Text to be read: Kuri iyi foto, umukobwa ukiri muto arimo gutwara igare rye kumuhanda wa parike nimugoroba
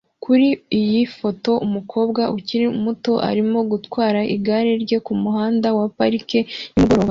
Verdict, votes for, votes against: accepted, 2, 0